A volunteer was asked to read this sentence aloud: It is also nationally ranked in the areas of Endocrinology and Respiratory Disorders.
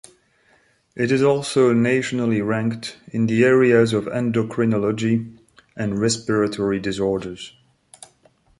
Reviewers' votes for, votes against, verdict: 0, 2, rejected